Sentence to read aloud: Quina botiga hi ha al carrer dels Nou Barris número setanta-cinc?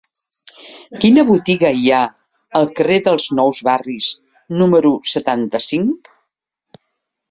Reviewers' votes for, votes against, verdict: 0, 2, rejected